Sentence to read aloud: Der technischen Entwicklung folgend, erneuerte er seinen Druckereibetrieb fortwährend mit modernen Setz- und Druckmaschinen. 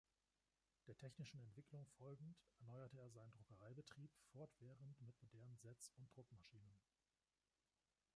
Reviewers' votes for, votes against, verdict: 1, 2, rejected